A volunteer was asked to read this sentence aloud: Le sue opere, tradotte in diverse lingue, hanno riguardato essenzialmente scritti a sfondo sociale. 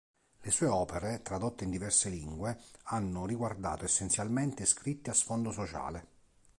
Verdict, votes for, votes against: accepted, 2, 0